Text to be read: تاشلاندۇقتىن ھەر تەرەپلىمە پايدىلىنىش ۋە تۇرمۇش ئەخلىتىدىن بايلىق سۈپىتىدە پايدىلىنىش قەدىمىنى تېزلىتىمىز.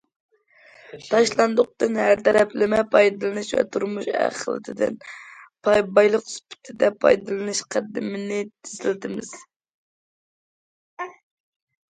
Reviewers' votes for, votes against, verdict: 1, 2, rejected